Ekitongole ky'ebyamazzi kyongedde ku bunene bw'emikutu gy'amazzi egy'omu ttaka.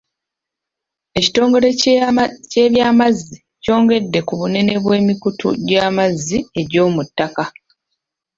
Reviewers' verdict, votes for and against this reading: rejected, 0, 2